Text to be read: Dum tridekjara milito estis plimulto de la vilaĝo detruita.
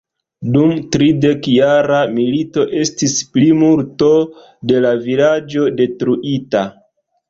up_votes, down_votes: 2, 0